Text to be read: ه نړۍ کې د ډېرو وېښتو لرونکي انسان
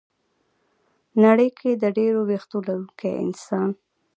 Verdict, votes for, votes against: accepted, 2, 1